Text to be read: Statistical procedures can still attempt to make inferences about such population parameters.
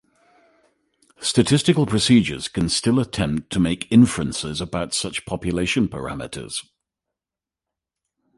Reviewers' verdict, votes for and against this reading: accepted, 2, 0